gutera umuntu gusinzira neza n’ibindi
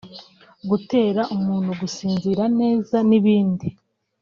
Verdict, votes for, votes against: accepted, 2, 1